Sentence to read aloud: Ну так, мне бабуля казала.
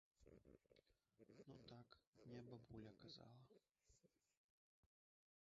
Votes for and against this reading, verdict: 0, 2, rejected